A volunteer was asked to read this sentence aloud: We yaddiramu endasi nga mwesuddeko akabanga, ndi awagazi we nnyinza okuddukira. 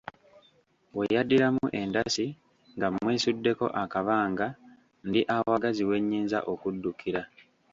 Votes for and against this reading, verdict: 0, 2, rejected